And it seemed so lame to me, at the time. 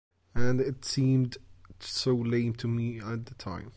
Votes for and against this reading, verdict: 2, 0, accepted